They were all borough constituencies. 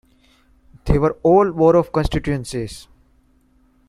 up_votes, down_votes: 1, 2